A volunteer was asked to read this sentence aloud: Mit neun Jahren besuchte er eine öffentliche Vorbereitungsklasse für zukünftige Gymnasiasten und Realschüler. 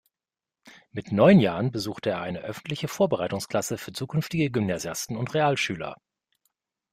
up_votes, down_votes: 2, 0